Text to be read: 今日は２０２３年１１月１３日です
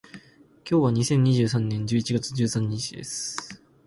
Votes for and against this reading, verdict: 0, 2, rejected